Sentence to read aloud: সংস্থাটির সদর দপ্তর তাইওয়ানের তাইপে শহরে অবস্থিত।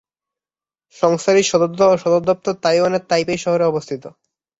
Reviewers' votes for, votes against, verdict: 1, 4, rejected